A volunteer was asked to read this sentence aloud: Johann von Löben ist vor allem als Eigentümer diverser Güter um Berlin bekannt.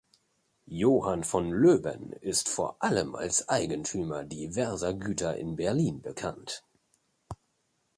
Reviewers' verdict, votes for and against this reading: rejected, 1, 2